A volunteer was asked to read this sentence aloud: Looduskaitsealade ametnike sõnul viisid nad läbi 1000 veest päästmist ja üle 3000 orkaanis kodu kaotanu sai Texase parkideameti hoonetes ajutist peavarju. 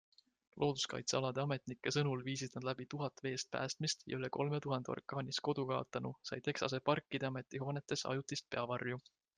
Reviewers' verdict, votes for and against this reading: rejected, 0, 2